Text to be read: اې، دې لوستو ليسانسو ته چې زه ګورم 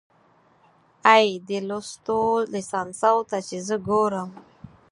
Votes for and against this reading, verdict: 4, 2, accepted